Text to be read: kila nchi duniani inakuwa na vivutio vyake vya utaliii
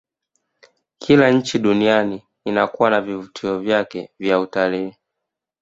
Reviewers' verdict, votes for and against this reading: rejected, 1, 2